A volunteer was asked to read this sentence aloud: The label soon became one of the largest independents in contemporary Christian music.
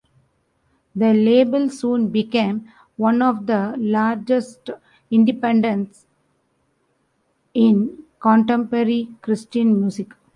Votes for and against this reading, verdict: 1, 2, rejected